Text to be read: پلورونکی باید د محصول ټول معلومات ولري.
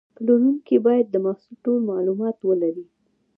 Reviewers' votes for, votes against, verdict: 0, 2, rejected